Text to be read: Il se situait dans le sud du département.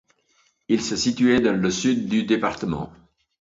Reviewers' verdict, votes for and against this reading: accepted, 2, 0